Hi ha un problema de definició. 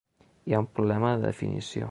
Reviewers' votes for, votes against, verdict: 3, 1, accepted